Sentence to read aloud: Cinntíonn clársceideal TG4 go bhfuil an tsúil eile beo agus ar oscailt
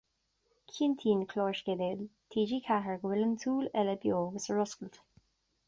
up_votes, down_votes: 0, 2